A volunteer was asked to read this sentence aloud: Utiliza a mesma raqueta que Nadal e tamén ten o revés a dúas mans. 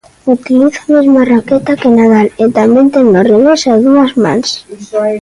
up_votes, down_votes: 0, 2